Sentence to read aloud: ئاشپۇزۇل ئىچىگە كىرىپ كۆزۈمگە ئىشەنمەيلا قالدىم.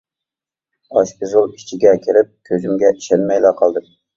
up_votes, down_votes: 2, 0